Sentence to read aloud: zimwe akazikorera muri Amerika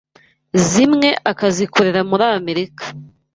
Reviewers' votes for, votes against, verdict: 2, 0, accepted